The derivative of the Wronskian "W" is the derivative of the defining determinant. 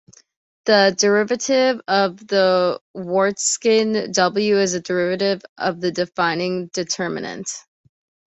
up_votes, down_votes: 1, 2